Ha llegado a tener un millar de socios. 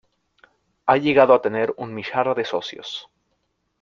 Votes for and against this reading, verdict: 1, 2, rejected